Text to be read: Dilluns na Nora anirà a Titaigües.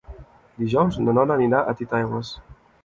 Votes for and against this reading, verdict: 0, 2, rejected